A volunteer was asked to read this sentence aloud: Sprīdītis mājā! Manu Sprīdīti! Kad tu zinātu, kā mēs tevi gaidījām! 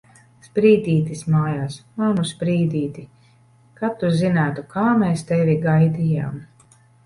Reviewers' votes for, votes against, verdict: 0, 2, rejected